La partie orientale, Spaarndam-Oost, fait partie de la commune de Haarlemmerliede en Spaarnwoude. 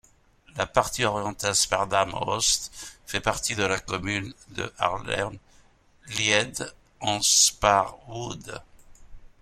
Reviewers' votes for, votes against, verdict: 0, 2, rejected